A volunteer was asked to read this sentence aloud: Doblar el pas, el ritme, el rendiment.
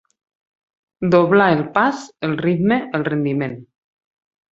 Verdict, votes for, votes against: accepted, 6, 0